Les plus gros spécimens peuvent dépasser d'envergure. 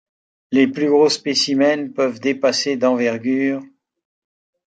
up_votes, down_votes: 2, 0